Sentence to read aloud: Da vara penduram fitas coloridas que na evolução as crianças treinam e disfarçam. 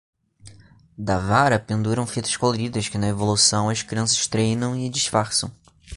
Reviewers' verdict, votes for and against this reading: accepted, 2, 0